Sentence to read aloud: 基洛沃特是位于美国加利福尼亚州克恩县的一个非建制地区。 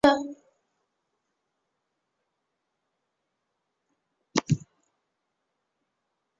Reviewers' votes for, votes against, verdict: 0, 2, rejected